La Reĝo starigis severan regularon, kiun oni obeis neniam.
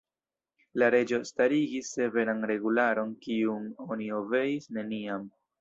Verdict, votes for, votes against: rejected, 1, 2